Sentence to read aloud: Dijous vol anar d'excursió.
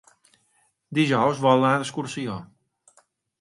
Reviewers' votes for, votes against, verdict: 4, 0, accepted